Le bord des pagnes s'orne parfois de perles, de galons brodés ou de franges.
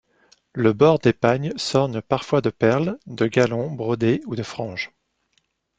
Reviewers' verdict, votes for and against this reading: accepted, 2, 0